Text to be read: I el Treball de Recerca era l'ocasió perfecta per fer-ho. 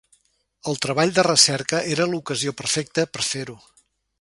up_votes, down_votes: 0, 2